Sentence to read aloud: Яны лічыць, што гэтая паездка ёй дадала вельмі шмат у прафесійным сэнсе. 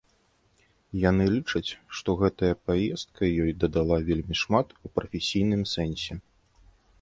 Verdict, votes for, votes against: accepted, 2, 0